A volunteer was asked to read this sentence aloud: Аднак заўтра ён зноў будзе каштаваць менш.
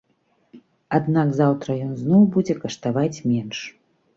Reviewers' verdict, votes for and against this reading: accepted, 2, 0